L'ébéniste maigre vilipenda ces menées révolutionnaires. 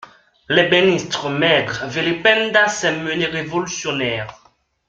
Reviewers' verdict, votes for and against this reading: rejected, 0, 2